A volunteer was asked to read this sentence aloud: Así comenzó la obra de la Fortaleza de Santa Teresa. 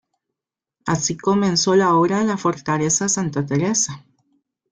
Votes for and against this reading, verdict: 1, 2, rejected